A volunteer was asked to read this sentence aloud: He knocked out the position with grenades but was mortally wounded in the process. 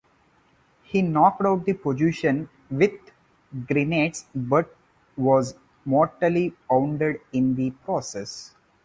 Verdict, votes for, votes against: rejected, 0, 2